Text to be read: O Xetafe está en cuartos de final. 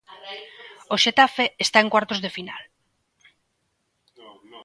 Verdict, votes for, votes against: rejected, 1, 2